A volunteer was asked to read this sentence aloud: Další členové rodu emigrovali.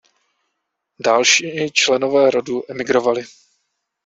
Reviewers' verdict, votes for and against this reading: rejected, 0, 2